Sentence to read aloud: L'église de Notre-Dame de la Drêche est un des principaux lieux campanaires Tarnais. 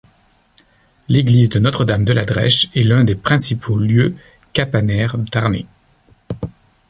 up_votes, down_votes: 0, 2